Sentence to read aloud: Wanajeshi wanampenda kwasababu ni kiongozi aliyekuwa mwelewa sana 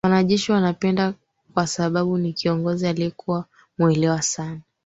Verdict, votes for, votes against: rejected, 2, 3